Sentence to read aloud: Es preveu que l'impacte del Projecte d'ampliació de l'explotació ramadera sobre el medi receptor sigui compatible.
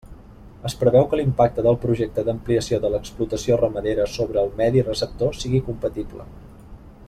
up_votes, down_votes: 2, 0